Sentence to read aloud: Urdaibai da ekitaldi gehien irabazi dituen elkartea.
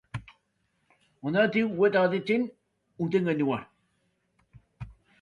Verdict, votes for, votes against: rejected, 0, 2